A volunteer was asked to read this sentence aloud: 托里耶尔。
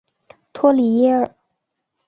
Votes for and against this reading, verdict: 2, 0, accepted